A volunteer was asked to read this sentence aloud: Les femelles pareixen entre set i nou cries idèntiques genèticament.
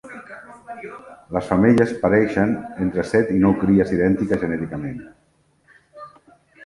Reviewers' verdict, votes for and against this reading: rejected, 1, 2